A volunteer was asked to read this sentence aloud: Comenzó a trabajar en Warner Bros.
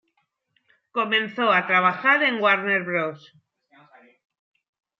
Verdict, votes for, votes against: accepted, 2, 0